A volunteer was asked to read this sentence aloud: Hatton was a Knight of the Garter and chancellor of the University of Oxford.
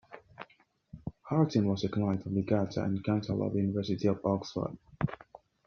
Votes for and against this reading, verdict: 0, 2, rejected